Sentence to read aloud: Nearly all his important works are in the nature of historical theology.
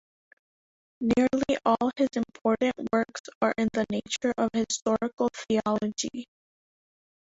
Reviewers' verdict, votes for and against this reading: rejected, 0, 2